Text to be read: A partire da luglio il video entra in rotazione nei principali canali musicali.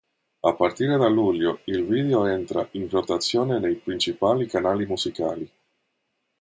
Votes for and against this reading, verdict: 2, 0, accepted